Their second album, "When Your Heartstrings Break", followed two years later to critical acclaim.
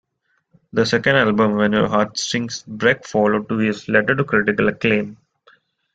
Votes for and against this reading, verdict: 1, 3, rejected